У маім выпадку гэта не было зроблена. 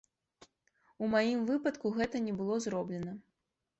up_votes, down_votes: 2, 0